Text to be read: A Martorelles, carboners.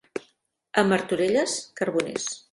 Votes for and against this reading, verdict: 3, 0, accepted